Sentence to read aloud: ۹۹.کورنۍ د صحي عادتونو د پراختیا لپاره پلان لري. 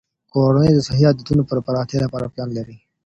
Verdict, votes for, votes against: rejected, 0, 2